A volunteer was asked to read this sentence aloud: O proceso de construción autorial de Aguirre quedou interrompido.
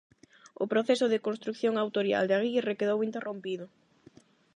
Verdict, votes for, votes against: rejected, 4, 4